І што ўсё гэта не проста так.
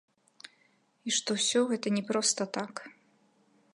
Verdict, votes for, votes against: accepted, 2, 0